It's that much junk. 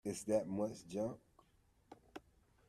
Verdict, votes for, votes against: accepted, 2, 0